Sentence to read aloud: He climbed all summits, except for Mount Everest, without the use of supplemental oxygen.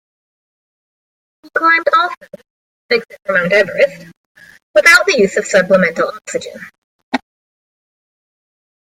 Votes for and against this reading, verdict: 0, 2, rejected